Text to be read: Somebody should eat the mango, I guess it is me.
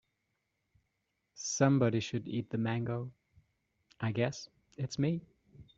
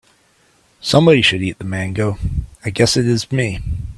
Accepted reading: second